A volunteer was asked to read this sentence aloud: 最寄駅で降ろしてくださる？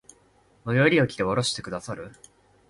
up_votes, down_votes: 0, 3